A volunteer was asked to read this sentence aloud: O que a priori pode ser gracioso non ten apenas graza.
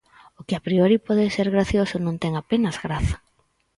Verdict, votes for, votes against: accepted, 4, 0